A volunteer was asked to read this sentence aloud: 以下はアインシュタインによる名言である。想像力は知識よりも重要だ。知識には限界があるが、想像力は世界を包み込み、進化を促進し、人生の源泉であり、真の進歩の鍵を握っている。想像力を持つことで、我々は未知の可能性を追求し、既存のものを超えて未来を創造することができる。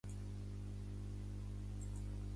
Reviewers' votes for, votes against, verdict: 2, 1, accepted